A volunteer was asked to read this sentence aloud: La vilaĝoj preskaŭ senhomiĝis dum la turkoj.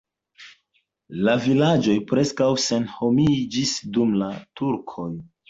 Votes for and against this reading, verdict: 2, 1, accepted